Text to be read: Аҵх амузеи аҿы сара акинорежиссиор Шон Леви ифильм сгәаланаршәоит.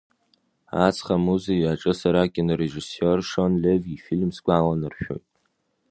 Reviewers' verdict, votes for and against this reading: accepted, 2, 1